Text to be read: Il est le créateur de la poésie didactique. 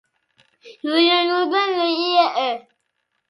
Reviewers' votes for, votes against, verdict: 0, 2, rejected